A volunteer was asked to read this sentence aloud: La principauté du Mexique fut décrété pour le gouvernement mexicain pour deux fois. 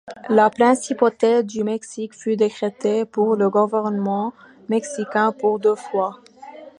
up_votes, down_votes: 2, 0